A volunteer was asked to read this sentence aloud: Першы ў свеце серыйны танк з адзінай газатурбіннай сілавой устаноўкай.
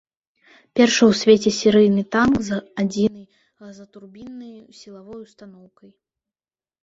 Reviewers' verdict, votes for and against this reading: rejected, 1, 2